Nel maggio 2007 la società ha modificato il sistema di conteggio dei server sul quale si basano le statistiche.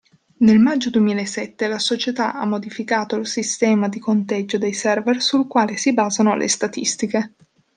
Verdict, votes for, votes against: rejected, 0, 2